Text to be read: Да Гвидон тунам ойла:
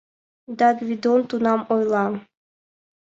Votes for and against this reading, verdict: 2, 0, accepted